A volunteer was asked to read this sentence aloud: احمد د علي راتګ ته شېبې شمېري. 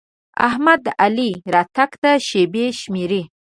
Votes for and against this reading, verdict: 2, 0, accepted